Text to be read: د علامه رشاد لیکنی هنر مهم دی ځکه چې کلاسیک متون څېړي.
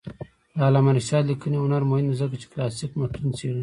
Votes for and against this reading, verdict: 2, 0, accepted